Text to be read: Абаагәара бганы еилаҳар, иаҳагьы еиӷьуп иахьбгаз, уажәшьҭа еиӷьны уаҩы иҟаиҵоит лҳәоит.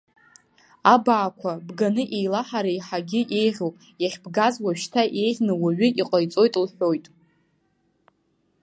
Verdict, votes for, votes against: rejected, 0, 3